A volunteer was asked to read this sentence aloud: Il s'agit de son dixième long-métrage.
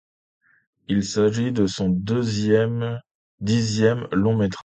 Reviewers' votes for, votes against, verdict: 0, 2, rejected